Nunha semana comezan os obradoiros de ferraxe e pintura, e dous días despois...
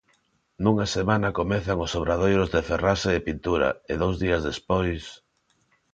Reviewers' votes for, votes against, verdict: 2, 0, accepted